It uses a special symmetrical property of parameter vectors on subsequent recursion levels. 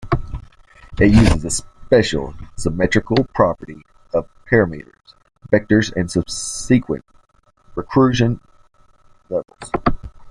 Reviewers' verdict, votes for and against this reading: rejected, 0, 2